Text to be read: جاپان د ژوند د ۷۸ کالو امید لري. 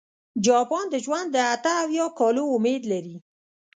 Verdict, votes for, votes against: rejected, 0, 2